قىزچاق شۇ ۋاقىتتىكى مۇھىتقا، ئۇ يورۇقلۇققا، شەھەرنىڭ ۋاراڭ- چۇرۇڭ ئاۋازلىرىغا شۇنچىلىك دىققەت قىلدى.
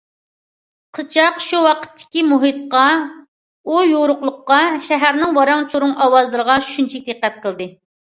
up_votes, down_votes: 2, 0